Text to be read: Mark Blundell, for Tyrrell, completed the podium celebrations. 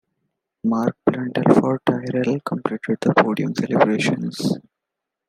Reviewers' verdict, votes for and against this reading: accepted, 2, 1